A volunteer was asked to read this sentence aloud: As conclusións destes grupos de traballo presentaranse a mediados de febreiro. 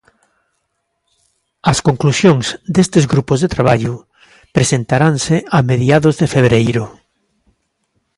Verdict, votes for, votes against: accepted, 2, 0